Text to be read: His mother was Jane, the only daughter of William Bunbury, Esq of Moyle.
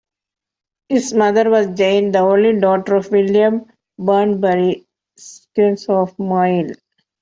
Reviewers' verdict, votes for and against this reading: rejected, 1, 2